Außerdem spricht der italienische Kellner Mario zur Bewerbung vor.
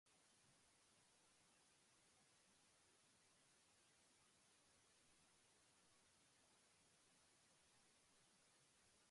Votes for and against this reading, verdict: 0, 2, rejected